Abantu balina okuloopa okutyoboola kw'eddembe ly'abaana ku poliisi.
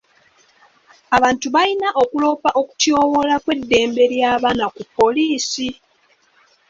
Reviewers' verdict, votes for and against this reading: accepted, 2, 0